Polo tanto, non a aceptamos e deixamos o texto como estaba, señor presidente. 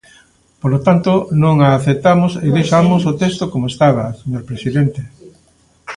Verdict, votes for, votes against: rejected, 1, 2